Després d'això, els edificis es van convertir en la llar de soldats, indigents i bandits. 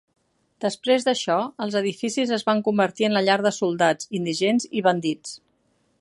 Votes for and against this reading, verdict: 4, 0, accepted